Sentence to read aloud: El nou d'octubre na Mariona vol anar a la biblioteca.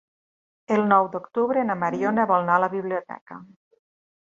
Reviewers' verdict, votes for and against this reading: rejected, 0, 3